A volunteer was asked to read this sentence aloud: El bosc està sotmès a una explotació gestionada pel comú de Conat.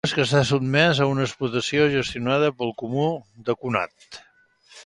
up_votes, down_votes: 0, 2